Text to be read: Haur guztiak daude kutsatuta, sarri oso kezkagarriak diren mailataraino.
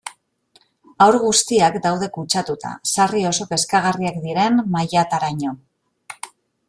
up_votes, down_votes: 2, 0